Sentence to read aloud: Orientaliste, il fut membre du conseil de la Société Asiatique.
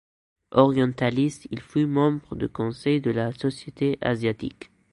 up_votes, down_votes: 2, 0